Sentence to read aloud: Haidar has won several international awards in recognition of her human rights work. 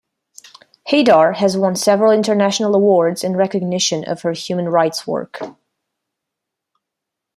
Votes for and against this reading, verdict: 2, 0, accepted